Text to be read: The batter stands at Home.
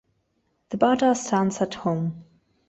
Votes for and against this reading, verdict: 2, 0, accepted